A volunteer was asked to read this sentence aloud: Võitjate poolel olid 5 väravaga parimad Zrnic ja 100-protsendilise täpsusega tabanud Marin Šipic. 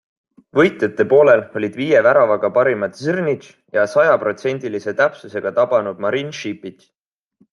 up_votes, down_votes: 0, 2